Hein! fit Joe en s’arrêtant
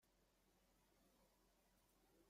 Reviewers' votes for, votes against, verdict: 0, 2, rejected